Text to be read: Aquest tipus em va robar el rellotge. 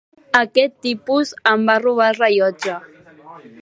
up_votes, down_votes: 2, 0